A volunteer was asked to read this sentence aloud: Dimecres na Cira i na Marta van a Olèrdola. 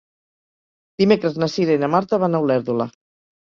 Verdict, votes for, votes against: accepted, 4, 0